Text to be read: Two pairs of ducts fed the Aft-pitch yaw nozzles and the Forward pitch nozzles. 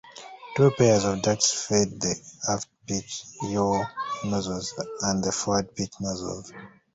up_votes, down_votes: 1, 2